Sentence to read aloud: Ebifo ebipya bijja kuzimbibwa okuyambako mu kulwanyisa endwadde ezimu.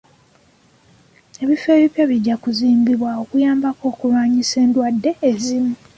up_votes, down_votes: 1, 2